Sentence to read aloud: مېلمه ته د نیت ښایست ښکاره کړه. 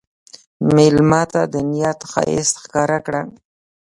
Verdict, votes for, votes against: rejected, 1, 2